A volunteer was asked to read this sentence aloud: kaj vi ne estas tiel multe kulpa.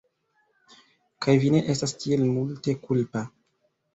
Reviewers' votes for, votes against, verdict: 2, 1, accepted